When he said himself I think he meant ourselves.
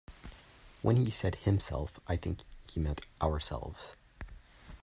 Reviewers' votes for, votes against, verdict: 2, 0, accepted